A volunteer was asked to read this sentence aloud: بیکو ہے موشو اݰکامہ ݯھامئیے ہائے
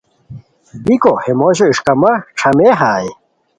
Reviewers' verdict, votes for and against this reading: accepted, 2, 0